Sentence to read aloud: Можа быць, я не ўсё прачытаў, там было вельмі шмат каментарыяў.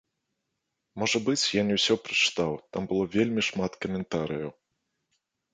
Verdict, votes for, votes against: accepted, 2, 1